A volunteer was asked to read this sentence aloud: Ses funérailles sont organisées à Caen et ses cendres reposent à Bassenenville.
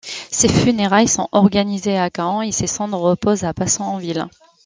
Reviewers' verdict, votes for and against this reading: rejected, 1, 2